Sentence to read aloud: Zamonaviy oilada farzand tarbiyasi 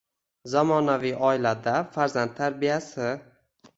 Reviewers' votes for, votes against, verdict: 1, 2, rejected